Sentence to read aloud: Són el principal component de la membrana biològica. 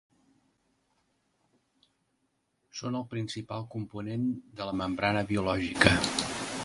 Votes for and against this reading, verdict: 2, 0, accepted